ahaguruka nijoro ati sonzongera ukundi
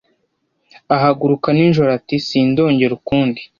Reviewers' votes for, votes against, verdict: 0, 2, rejected